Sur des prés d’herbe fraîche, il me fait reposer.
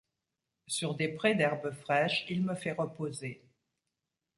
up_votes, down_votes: 2, 0